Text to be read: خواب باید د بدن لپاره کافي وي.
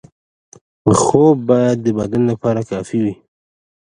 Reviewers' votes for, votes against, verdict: 2, 0, accepted